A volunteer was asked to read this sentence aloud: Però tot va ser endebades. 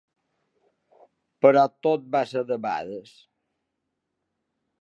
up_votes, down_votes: 2, 1